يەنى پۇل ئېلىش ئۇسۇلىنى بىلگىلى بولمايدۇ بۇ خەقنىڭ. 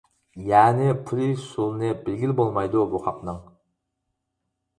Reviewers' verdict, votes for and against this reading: rejected, 2, 4